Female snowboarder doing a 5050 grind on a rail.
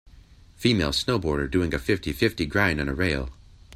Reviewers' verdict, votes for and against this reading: rejected, 0, 2